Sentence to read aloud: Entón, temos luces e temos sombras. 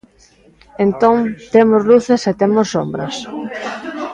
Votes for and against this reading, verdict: 2, 0, accepted